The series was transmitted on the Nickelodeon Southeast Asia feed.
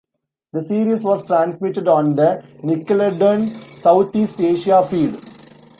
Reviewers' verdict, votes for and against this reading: rejected, 0, 3